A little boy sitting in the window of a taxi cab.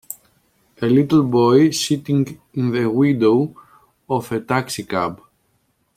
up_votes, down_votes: 2, 0